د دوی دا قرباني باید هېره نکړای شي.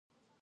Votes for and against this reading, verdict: 0, 2, rejected